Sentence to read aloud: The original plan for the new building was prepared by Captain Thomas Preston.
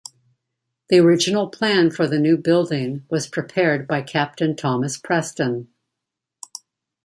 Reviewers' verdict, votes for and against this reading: accepted, 2, 0